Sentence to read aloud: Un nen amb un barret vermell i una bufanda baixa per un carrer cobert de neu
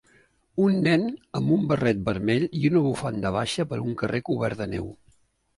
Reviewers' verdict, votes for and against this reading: rejected, 0, 2